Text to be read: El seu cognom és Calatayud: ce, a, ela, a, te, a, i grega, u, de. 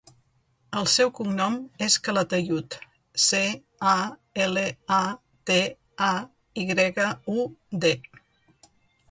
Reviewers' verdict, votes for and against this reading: accepted, 2, 1